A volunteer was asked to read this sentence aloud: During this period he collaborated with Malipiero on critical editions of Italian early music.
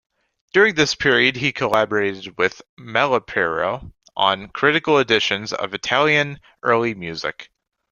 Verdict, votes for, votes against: accepted, 2, 0